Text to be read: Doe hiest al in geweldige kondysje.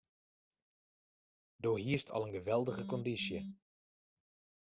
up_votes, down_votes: 0, 2